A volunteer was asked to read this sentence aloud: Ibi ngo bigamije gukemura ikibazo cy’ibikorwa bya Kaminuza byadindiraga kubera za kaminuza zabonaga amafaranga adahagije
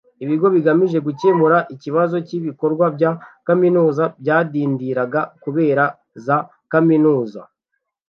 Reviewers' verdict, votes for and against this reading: rejected, 1, 2